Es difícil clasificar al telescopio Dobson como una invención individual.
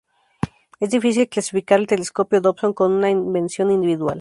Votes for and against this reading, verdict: 2, 0, accepted